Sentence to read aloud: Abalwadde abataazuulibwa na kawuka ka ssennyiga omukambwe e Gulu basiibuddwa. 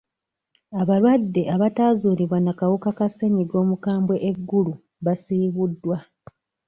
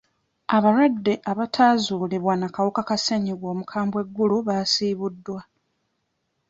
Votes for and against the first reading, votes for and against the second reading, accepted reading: 0, 2, 2, 0, second